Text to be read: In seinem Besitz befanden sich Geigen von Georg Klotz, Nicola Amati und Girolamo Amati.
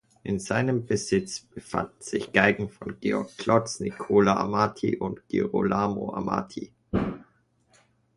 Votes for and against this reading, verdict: 2, 0, accepted